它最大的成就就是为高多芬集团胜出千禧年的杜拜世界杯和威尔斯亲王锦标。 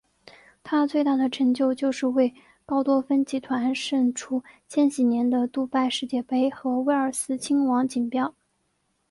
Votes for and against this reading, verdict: 2, 0, accepted